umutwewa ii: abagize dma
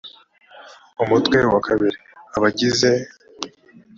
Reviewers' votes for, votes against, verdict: 1, 4, rejected